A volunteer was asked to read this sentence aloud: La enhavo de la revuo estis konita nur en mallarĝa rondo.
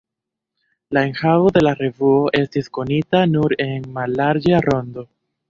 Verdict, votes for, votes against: rejected, 0, 2